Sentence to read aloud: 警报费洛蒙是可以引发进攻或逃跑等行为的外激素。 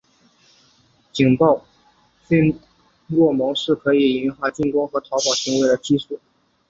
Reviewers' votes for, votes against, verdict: 0, 2, rejected